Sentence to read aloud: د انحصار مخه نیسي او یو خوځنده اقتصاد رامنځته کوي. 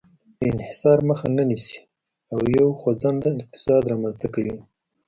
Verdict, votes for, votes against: rejected, 0, 2